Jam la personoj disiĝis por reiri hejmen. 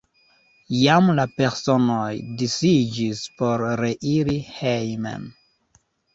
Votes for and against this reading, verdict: 1, 2, rejected